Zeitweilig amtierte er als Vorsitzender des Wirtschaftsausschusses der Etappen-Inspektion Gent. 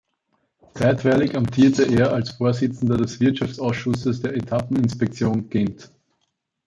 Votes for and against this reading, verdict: 0, 2, rejected